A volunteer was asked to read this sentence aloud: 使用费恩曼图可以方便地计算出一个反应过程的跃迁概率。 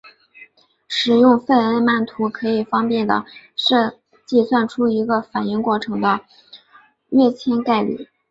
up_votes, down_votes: 0, 5